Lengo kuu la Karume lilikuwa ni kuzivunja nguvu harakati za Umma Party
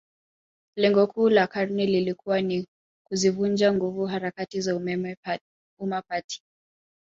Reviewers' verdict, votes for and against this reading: rejected, 1, 2